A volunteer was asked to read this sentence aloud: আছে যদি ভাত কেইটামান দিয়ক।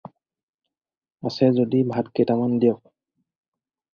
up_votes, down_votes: 4, 0